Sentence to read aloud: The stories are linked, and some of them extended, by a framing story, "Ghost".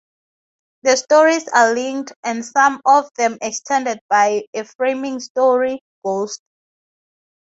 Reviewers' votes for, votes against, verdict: 2, 0, accepted